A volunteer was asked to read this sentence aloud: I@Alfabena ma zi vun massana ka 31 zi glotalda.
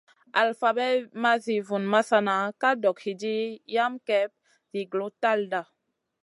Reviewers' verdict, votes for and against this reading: rejected, 0, 2